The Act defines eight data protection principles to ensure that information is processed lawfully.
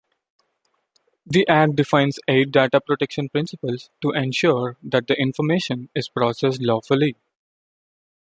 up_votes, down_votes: 2, 0